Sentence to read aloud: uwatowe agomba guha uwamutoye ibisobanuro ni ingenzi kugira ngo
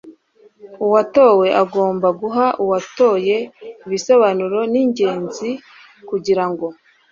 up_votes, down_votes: 0, 2